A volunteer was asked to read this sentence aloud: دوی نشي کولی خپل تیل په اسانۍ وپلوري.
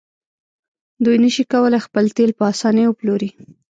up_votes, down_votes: 0, 2